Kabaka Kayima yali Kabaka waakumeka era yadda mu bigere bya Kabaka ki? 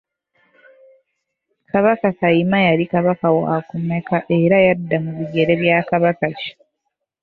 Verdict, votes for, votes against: accepted, 2, 1